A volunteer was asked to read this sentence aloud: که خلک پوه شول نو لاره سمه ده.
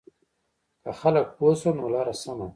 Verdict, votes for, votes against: rejected, 0, 2